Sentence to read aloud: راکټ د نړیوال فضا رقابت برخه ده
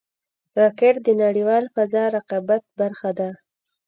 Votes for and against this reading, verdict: 0, 2, rejected